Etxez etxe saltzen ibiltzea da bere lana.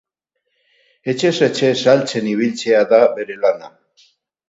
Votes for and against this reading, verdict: 2, 2, rejected